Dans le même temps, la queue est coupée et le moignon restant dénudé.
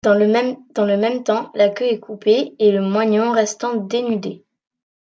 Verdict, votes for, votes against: rejected, 1, 2